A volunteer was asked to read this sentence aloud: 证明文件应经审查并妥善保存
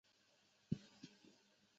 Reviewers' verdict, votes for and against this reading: rejected, 0, 2